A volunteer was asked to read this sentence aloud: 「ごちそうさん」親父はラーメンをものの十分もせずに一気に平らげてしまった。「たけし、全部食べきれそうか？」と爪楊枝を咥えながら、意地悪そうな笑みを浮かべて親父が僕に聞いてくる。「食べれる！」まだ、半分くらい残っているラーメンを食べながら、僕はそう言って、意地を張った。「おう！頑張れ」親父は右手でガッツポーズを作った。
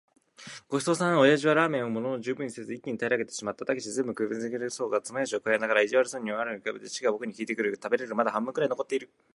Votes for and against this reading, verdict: 1, 2, rejected